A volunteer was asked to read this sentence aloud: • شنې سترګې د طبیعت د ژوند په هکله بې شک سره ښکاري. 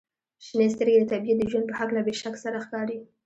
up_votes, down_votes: 2, 0